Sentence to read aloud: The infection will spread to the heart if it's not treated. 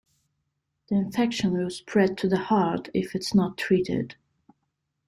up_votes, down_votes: 2, 0